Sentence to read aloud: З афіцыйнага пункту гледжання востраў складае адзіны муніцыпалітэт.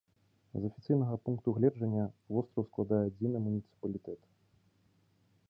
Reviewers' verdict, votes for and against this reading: accepted, 3, 1